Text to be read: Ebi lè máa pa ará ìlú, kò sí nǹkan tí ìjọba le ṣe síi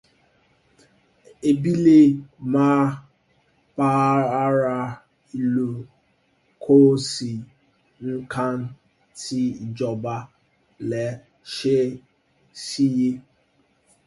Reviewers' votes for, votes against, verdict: 0, 2, rejected